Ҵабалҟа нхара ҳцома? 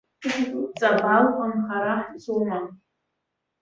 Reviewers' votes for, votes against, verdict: 2, 1, accepted